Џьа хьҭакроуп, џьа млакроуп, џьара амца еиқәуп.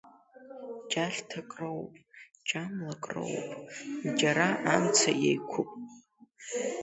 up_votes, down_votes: 1, 2